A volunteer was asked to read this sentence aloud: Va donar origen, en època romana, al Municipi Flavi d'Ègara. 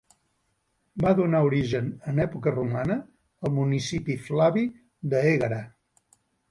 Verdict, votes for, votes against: rejected, 1, 2